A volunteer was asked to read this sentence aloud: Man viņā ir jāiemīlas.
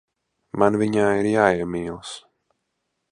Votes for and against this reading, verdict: 2, 0, accepted